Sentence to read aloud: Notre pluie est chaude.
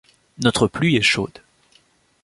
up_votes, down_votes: 2, 0